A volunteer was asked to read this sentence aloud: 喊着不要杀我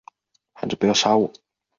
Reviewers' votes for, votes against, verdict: 3, 2, accepted